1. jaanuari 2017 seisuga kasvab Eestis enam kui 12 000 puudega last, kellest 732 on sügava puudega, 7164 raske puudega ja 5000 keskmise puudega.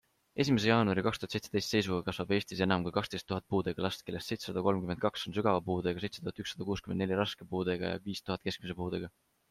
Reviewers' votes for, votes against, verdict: 0, 2, rejected